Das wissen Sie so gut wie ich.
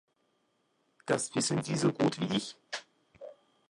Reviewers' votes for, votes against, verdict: 2, 0, accepted